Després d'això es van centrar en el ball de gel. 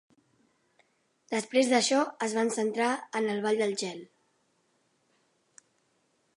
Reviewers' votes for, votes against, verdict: 0, 2, rejected